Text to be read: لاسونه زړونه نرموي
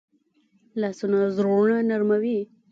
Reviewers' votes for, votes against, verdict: 2, 0, accepted